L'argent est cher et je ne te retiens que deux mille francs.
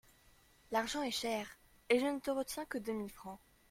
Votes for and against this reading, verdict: 2, 1, accepted